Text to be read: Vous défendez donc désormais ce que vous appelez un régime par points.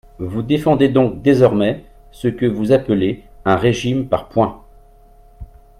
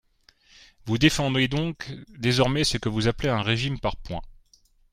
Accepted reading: first